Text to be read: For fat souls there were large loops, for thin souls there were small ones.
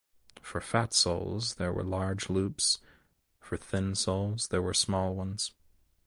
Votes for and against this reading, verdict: 2, 0, accepted